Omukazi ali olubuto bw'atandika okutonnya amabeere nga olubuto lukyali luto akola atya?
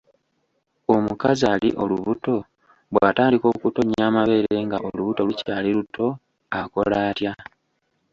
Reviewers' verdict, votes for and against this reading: accepted, 2, 0